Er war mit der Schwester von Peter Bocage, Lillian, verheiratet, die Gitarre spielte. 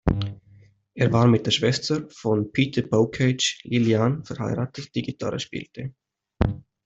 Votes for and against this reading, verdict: 2, 0, accepted